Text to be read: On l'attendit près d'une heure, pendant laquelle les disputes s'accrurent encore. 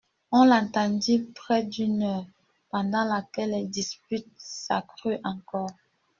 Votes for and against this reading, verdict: 1, 2, rejected